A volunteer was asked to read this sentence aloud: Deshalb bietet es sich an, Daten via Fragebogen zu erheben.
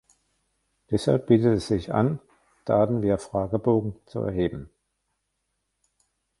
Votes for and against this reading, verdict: 1, 2, rejected